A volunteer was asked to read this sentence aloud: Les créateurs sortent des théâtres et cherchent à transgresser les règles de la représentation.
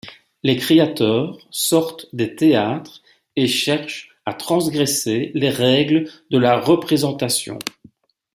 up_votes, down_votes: 2, 1